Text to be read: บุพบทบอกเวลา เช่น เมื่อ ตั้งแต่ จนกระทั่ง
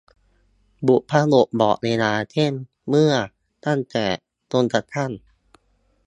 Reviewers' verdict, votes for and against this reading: accepted, 2, 0